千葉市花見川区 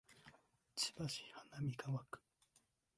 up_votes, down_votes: 1, 2